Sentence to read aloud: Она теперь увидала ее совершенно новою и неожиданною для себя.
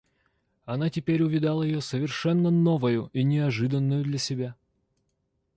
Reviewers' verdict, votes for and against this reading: accepted, 2, 0